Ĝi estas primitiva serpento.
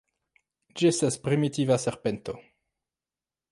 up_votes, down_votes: 2, 1